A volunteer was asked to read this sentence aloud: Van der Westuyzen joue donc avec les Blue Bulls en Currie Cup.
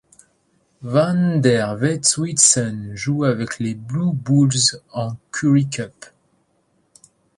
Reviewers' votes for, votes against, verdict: 0, 2, rejected